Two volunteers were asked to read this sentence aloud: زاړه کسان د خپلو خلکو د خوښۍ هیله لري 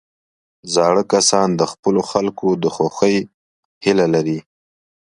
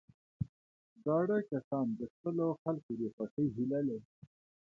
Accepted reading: first